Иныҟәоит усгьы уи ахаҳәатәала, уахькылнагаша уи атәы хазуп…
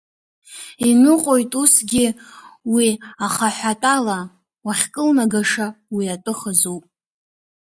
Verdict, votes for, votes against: rejected, 1, 2